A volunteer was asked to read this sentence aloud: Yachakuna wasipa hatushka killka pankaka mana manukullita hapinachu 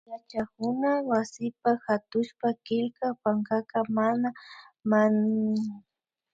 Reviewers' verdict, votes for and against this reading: rejected, 0, 2